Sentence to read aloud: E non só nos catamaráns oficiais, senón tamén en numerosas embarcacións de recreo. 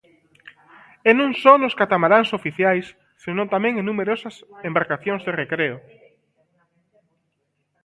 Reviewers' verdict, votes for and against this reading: rejected, 1, 2